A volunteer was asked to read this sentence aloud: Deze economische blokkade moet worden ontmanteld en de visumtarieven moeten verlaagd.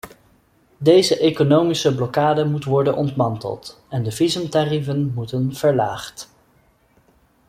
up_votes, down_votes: 2, 0